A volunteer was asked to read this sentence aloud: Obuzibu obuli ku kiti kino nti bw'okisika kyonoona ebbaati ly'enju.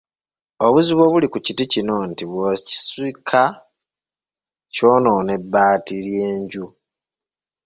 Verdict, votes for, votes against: rejected, 0, 2